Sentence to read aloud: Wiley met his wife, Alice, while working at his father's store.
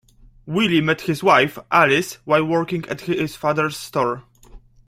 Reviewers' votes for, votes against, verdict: 0, 2, rejected